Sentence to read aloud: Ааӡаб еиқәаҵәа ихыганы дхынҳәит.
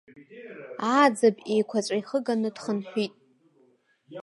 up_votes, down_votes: 2, 1